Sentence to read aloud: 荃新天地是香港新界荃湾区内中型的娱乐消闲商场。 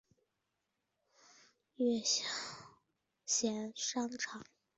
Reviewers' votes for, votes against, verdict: 1, 2, rejected